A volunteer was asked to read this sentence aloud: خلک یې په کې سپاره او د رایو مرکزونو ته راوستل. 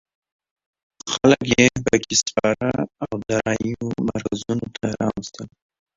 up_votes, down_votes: 1, 2